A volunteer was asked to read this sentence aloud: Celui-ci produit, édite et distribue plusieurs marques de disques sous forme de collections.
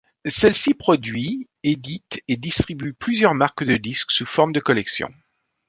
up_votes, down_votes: 0, 2